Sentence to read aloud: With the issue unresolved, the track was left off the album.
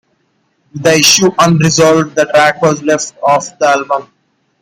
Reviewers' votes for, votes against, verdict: 0, 2, rejected